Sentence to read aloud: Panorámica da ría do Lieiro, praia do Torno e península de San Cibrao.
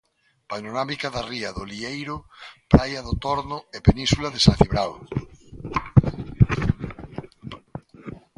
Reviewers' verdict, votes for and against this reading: accepted, 2, 0